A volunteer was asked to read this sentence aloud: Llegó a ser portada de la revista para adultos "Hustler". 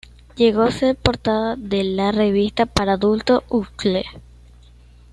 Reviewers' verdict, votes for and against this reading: rejected, 1, 2